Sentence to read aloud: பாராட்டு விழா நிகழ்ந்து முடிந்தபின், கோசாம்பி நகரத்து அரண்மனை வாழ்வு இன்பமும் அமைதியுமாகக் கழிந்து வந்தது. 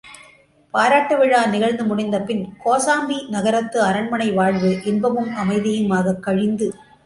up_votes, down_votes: 0, 2